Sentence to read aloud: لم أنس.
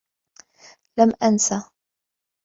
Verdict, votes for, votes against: accepted, 2, 0